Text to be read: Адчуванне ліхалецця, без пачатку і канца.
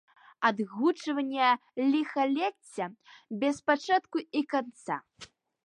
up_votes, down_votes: 1, 2